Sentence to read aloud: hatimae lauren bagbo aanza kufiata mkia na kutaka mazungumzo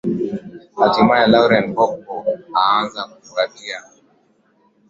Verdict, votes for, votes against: accepted, 4, 3